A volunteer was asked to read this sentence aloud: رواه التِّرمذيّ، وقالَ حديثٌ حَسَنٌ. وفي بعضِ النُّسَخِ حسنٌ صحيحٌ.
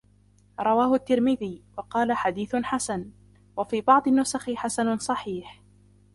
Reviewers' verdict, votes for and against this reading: rejected, 0, 2